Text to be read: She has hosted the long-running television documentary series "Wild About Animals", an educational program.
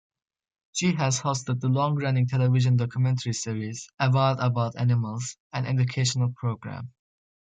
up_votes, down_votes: 2, 1